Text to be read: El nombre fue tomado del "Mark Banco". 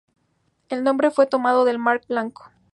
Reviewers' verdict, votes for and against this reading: accepted, 2, 0